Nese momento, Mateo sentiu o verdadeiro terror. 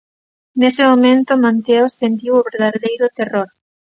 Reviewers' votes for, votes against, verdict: 0, 3, rejected